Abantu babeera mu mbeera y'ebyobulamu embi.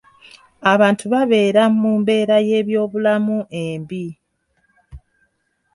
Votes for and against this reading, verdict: 2, 1, accepted